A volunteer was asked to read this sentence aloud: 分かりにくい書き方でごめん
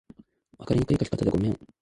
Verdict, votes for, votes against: accepted, 2, 0